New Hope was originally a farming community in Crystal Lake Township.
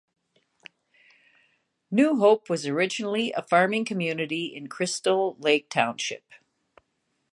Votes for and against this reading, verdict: 2, 0, accepted